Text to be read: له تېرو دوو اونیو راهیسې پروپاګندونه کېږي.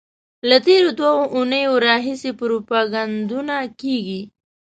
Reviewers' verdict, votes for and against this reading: accepted, 2, 0